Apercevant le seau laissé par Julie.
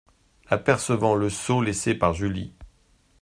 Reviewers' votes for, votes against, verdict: 2, 0, accepted